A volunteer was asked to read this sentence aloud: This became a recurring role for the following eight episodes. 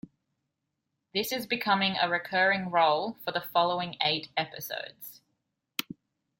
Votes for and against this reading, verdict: 0, 2, rejected